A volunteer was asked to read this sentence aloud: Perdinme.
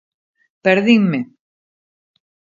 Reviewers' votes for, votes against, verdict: 2, 0, accepted